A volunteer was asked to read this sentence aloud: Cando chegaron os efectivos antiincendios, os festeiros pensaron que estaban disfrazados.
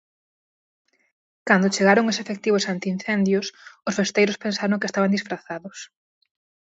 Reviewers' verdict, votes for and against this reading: accepted, 4, 0